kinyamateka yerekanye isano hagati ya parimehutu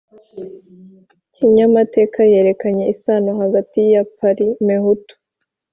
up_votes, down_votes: 3, 0